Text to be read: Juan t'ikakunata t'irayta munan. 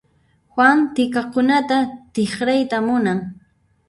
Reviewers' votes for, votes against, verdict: 0, 2, rejected